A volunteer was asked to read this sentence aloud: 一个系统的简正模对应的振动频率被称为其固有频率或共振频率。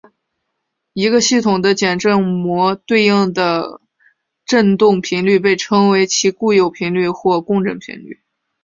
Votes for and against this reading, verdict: 2, 0, accepted